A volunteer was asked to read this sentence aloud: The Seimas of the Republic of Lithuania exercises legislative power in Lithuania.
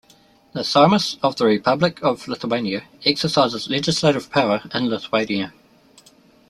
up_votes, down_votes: 2, 0